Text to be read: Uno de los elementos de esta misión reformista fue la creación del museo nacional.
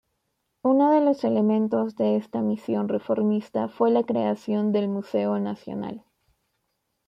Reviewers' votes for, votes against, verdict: 2, 0, accepted